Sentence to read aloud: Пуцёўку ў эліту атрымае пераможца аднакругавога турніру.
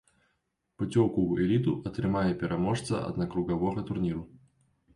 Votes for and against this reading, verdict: 2, 0, accepted